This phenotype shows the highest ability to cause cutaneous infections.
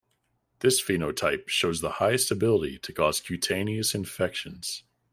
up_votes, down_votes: 2, 0